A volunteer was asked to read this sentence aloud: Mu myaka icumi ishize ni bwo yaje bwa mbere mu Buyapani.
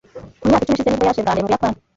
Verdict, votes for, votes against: rejected, 1, 2